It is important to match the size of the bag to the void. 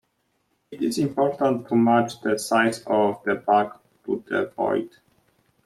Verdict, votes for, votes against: accepted, 2, 1